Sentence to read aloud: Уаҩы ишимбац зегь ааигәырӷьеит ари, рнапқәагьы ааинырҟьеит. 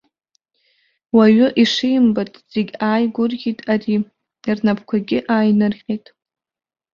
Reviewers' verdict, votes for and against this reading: rejected, 1, 2